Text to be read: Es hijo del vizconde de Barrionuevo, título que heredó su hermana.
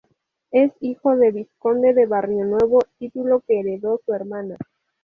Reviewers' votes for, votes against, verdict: 0, 2, rejected